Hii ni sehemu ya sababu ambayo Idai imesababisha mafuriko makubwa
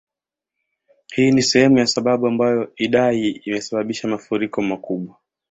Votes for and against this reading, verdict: 2, 0, accepted